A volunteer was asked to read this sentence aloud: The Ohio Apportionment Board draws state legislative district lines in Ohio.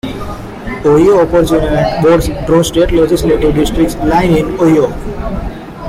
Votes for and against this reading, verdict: 0, 2, rejected